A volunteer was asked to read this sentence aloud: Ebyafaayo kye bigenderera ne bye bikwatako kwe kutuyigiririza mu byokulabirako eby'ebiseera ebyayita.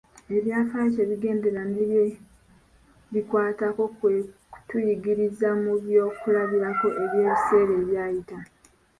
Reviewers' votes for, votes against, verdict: 1, 2, rejected